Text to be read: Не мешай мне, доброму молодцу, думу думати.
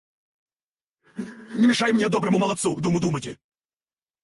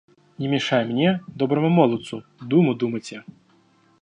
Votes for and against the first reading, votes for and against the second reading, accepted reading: 0, 4, 2, 0, second